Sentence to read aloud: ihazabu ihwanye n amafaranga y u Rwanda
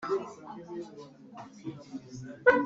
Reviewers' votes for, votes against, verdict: 0, 2, rejected